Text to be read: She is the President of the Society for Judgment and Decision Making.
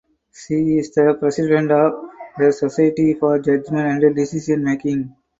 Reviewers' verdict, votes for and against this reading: accepted, 4, 0